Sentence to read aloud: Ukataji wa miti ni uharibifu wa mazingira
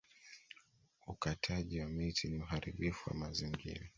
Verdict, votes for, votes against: accepted, 2, 0